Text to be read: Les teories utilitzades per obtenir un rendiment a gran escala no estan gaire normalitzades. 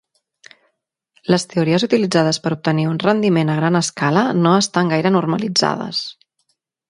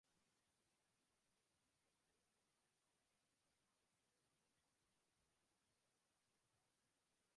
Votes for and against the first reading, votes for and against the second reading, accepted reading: 3, 0, 1, 2, first